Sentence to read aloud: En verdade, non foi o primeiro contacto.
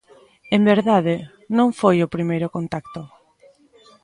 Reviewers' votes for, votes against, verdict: 1, 2, rejected